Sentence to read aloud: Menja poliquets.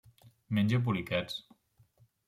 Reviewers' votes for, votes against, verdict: 3, 0, accepted